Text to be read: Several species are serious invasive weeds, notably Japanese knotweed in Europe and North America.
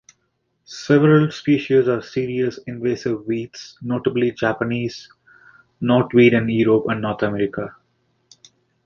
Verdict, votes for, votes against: accepted, 2, 1